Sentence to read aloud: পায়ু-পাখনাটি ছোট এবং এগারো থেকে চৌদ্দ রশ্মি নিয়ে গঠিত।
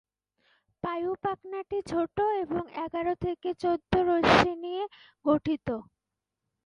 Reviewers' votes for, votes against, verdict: 2, 0, accepted